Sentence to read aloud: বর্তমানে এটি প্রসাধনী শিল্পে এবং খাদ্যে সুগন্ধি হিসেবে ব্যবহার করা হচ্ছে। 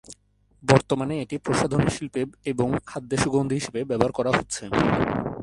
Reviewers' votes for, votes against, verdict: 0, 2, rejected